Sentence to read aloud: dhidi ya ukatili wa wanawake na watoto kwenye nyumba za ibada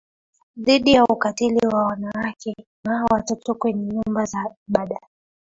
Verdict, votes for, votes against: accepted, 3, 2